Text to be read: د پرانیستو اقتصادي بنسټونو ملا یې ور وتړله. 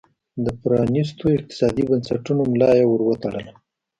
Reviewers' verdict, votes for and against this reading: accepted, 3, 0